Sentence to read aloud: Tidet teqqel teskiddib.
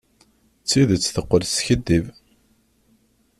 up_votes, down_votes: 1, 2